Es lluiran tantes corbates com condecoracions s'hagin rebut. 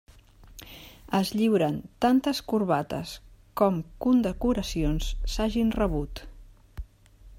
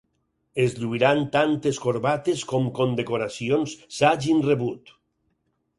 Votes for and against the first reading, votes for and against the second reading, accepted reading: 0, 2, 4, 0, second